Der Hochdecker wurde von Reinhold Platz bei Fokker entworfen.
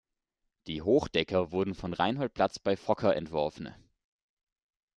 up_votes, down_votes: 0, 2